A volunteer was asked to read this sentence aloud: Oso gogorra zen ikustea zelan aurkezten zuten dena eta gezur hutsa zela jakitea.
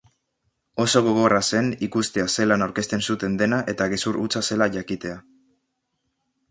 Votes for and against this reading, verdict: 2, 1, accepted